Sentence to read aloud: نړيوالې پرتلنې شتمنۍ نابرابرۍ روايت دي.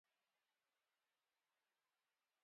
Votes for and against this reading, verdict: 0, 2, rejected